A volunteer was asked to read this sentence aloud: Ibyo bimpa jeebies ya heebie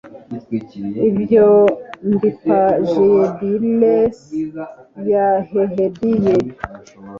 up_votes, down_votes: 1, 2